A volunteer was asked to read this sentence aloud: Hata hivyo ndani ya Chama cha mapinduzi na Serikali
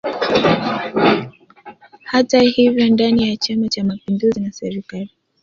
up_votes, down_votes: 1, 2